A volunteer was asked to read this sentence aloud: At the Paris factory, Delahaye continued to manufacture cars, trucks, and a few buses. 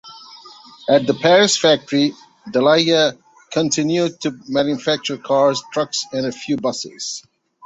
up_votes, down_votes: 1, 2